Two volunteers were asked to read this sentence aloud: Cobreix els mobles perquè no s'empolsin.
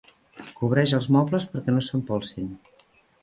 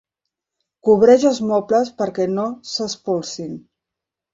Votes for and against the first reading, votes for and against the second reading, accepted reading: 2, 0, 1, 2, first